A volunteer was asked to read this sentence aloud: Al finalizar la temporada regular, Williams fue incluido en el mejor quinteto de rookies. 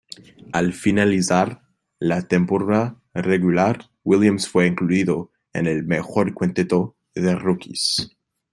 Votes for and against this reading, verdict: 0, 2, rejected